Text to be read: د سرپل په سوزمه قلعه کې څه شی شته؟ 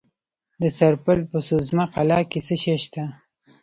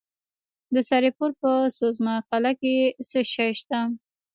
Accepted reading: first